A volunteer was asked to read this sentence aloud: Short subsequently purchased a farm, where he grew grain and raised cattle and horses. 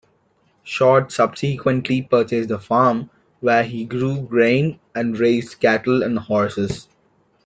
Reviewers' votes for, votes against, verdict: 0, 2, rejected